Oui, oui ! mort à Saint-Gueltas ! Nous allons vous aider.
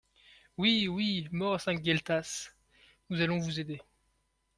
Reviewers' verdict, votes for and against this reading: accepted, 2, 0